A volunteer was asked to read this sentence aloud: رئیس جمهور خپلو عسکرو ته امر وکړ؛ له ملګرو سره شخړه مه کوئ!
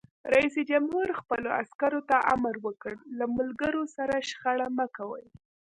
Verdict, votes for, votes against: accepted, 2, 0